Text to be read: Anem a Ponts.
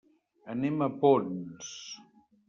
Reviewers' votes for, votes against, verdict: 1, 2, rejected